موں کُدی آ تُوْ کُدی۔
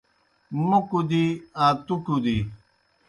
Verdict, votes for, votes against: accepted, 2, 0